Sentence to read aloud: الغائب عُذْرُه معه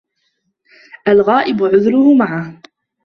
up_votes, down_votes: 1, 2